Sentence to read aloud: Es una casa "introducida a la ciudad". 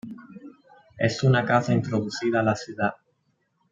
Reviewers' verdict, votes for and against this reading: accepted, 2, 0